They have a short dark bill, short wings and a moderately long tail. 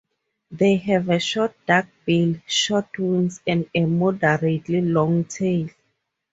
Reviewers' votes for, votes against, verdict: 2, 2, rejected